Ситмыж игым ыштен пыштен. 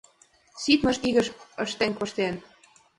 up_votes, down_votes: 1, 2